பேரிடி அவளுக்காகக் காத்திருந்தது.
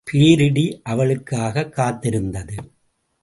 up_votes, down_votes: 2, 0